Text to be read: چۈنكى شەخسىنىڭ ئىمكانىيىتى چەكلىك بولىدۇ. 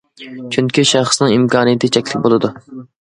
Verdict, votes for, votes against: accepted, 2, 1